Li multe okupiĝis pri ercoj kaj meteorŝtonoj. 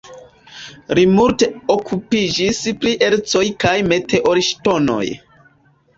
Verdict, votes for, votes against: rejected, 1, 2